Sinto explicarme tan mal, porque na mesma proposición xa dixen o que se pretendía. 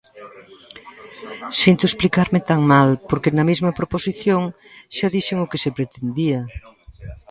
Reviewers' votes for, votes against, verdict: 2, 0, accepted